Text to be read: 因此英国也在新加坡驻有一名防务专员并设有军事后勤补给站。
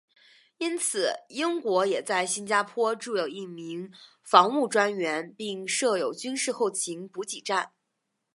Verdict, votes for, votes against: accepted, 2, 0